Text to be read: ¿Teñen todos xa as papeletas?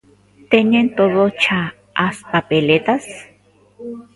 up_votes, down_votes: 1, 2